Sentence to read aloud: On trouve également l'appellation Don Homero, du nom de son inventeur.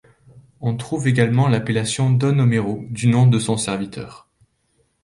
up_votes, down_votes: 2, 3